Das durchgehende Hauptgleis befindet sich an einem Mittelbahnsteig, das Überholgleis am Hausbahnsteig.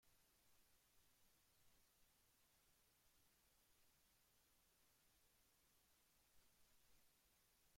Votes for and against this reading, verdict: 0, 2, rejected